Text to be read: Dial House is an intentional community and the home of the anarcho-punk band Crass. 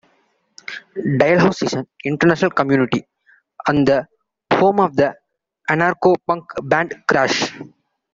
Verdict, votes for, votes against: rejected, 1, 2